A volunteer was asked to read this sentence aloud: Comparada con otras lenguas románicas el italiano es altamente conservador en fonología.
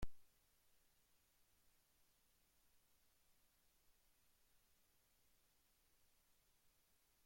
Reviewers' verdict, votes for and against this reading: rejected, 0, 2